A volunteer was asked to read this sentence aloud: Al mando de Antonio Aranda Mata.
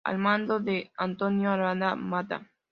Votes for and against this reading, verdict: 2, 0, accepted